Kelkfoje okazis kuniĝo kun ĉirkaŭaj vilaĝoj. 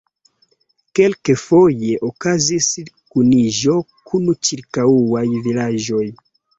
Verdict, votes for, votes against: accepted, 2, 0